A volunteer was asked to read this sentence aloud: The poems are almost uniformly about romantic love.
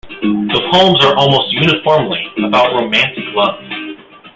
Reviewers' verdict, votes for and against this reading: rejected, 0, 2